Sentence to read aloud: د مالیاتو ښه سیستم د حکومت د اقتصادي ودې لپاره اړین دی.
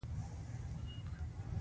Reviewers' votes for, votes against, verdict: 1, 2, rejected